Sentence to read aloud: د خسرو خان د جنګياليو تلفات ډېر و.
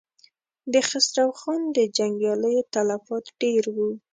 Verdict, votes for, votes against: accepted, 2, 0